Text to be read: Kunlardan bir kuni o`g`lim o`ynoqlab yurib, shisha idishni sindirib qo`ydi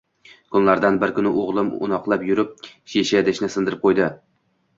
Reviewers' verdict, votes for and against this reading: accepted, 2, 1